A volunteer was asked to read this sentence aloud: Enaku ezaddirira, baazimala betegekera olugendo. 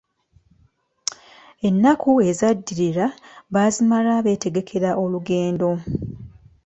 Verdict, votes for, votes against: accepted, 2, 0